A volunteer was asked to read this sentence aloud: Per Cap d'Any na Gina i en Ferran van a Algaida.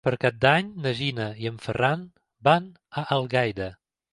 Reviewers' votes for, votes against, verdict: 2, 0, accepted